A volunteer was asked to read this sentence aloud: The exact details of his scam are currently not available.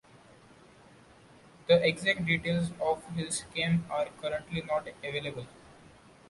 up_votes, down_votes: 2, 0